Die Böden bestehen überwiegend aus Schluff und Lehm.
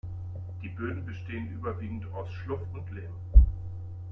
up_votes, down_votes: 1, 2